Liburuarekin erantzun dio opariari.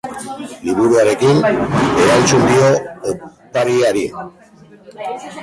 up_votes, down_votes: 0, 2